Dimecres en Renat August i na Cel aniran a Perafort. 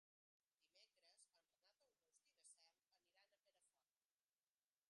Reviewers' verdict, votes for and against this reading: rejected, 0, 2